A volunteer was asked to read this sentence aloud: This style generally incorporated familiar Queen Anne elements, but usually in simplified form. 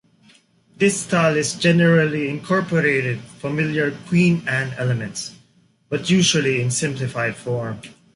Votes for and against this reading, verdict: 1, 2, rejected